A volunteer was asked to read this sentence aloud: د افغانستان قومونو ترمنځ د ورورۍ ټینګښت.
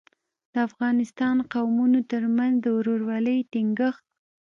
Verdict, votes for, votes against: accepted, 2, 0